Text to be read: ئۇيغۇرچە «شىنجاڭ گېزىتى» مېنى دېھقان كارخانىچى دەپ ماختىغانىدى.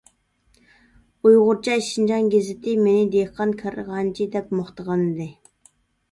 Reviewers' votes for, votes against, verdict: 1, 2, rejected